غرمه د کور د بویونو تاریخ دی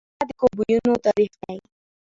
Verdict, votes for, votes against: rejected, 1, 2